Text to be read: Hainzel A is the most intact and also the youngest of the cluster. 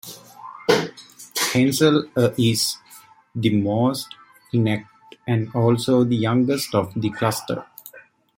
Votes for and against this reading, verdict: 2, 0, accepted